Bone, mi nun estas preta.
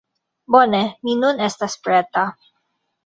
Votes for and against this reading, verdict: 2, 1, accepted